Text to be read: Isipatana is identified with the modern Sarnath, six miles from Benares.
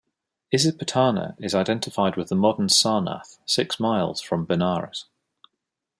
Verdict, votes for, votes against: accepted, 2, 0